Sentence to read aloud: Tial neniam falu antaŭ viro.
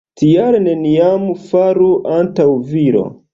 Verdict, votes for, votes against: rejected, 1, 2